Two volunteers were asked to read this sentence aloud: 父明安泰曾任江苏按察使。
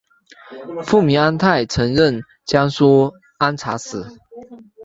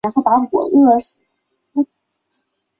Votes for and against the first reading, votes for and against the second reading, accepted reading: 3, 0, 1, 4, first